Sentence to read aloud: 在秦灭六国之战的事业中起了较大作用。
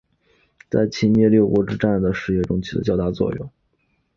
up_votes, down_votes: 2, 1